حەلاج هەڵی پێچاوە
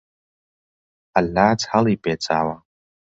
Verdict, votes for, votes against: rejected, 0, 2